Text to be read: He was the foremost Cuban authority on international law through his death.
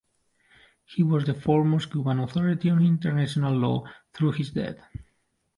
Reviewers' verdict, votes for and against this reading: accepted, 2, 1